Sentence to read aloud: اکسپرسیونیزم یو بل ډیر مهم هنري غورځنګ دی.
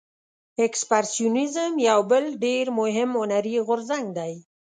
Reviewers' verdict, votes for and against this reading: accepted, 2, 0